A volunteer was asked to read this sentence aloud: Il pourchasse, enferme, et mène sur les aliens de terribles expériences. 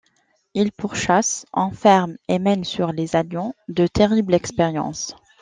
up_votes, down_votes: 0, 2